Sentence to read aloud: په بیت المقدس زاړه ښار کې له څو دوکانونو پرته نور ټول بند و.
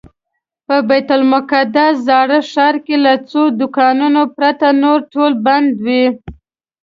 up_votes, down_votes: 2, 0